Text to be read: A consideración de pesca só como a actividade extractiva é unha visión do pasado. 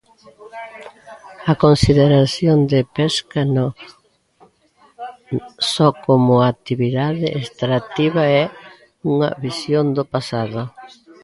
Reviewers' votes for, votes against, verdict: 0, 2, rejected